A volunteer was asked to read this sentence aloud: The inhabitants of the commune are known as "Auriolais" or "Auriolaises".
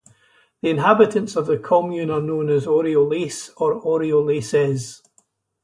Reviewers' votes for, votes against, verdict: 2, 2, rejected